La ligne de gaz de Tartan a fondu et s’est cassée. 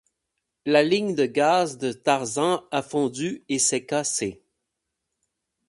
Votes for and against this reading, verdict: 0, 4, rejected